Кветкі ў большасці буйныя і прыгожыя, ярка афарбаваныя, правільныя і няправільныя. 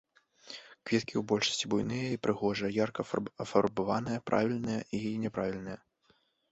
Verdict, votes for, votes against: rejected, 1, 2